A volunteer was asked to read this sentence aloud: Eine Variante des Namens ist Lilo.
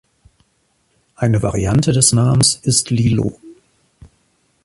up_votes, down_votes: 2, 0